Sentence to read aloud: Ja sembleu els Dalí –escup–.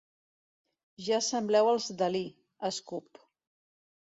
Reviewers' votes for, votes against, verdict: 2, 0, accepted